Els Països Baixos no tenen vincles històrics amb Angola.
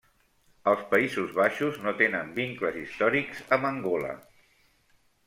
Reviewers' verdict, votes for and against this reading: rejected, 1, 2